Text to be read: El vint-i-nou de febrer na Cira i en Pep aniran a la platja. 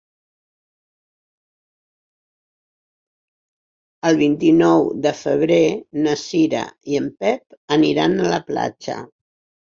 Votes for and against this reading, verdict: 6, 0, accepted